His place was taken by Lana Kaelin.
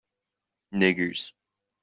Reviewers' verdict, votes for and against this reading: rejected, 0, 2